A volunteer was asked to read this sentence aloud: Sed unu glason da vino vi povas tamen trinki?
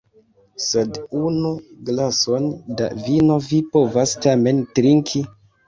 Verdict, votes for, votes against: rejected, 0, 2